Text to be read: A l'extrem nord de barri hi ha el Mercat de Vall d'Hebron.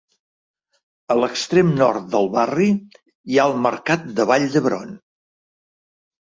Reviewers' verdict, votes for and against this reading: accepted, 2, 1